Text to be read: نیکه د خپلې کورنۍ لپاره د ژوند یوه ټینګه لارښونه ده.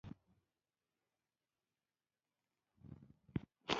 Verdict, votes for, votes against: rejected, 0, 2